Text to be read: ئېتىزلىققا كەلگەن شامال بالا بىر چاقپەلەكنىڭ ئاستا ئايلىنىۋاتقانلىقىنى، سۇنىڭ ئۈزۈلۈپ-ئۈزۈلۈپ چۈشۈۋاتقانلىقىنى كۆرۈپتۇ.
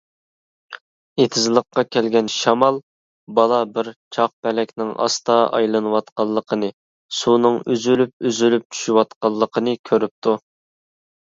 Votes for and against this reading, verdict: 2, 0, accepted